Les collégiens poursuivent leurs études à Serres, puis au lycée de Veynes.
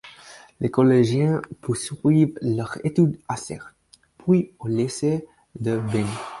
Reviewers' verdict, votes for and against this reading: accepted, 4, 0